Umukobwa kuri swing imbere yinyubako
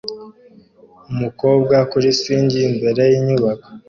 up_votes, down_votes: 2, 0